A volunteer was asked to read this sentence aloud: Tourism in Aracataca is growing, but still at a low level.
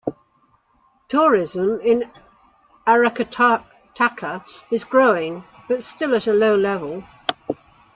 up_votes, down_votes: 1, 2